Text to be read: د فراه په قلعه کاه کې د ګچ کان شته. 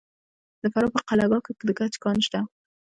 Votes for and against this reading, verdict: 1, 2, rejected